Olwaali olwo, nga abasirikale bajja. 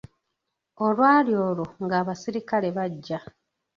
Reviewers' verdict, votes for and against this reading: accepted, 4, 1